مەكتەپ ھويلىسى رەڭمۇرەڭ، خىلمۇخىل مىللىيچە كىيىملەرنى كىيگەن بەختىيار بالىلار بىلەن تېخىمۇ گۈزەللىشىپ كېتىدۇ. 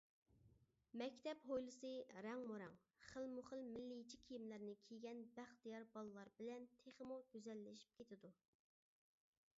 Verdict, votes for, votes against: accepted, 2, 0